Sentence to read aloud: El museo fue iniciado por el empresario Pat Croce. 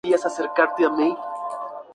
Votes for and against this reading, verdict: 0, 2, rejected